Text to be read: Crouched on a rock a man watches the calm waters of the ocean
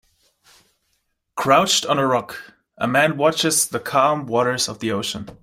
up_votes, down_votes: 2, 0